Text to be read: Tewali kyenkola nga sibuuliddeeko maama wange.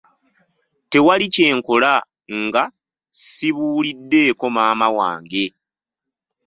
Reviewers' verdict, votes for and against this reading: rejected, 1, 2